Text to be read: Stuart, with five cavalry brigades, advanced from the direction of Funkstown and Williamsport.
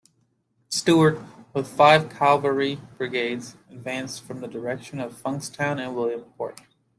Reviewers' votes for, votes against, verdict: 2, 0, accepted